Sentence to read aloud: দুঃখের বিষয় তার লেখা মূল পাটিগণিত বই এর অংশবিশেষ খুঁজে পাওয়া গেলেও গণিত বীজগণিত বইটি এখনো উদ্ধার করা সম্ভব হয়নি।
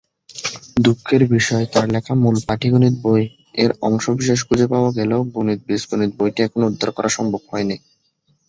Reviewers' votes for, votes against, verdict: 3, 1, accepted